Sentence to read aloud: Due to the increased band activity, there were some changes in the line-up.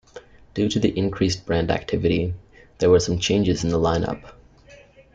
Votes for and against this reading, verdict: 1, 2, rejected